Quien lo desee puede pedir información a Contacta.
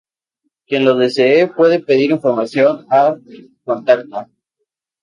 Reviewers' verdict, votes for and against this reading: accepted, 2, 0